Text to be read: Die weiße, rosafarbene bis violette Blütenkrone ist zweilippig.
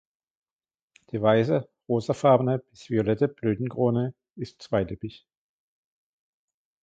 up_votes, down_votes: 0, 2